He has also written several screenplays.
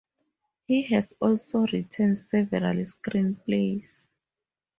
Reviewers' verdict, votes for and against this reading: accepted, 2, 0